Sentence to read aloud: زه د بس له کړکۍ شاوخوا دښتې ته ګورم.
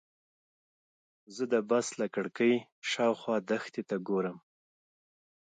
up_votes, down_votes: 2, 0